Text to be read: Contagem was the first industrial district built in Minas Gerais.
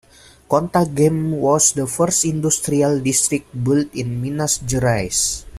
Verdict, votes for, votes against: rejected, 1, 2